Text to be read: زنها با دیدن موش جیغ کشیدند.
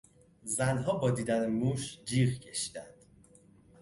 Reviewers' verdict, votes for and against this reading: accepted, 2, 0